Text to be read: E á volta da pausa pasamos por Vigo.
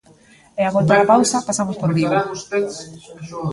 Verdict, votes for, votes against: rejected, 1, 2